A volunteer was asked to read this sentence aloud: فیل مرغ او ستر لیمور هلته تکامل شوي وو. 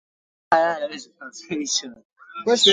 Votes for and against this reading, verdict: 1, 3, rejected